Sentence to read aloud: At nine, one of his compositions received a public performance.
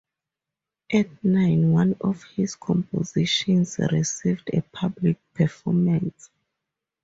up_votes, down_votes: 2, 0